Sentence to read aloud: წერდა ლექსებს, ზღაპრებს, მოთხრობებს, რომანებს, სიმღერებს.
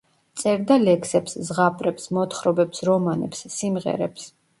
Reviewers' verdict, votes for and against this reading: accepted, 2, 0